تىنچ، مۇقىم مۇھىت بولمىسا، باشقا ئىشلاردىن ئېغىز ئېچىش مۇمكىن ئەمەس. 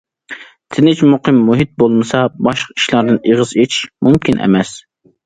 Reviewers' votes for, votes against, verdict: 2, 0, accepted